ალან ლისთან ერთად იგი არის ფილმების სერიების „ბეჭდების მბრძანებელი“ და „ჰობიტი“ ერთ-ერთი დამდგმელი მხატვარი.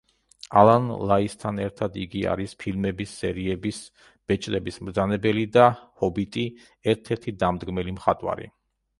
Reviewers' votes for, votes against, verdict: 0, 2, rejected